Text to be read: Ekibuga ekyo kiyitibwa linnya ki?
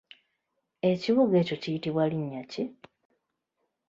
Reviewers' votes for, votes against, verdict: 2, 1, accepted